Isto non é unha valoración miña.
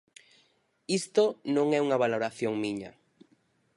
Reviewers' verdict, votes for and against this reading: accepted, 4, 0